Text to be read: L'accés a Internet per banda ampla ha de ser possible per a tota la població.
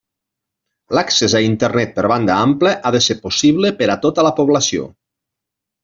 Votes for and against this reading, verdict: 2, 1, accepted